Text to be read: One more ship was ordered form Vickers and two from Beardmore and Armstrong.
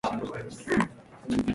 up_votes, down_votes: 0, 2